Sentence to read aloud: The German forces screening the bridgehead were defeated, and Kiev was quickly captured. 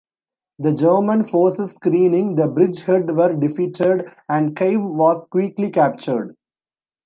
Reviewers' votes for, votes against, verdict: 0, 2, rejected